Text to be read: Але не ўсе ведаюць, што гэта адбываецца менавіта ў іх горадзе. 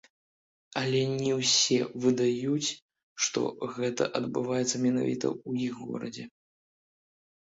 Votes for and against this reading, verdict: 0, 2, rejected